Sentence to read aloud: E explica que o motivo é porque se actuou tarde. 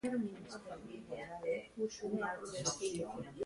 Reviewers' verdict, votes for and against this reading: rejected, 0, 2